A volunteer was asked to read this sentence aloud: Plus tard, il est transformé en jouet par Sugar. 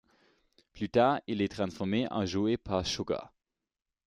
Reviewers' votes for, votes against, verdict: 2, 0, accepted